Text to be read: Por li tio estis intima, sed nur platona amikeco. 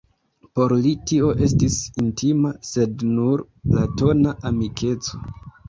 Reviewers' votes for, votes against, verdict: 2, 0, accepted